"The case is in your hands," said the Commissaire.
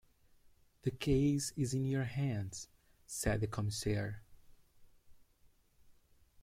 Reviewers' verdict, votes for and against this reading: accepted, 3, 2